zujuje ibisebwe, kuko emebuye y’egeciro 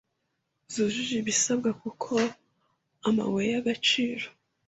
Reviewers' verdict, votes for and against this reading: rejected, 1, 2